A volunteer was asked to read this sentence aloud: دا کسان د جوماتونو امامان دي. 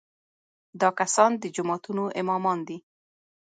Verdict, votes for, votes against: accepted, 3, 0